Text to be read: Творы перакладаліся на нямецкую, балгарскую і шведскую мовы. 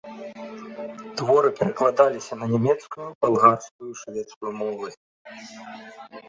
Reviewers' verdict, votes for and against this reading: accepted, 2, 0